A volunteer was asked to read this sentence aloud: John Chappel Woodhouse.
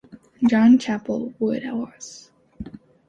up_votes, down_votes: 3, 1